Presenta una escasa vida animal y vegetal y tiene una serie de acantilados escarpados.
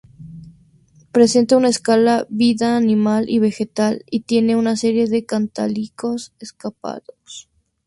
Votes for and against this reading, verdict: 0, 2, rejected